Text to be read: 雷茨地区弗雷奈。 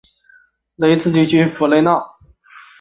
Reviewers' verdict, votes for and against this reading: accepted, 3, 0